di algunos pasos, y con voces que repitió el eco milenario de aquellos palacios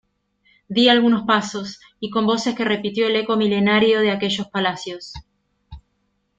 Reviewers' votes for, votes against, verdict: 2, 0, accepted